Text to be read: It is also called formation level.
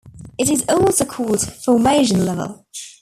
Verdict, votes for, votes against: accepted, 3, 0